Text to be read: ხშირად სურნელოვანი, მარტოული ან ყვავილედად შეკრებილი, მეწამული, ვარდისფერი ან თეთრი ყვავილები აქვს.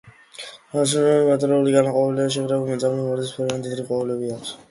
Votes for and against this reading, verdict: 0, 2, rejected